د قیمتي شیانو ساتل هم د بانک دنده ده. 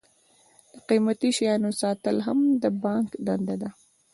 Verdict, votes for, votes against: accepted, 2, 0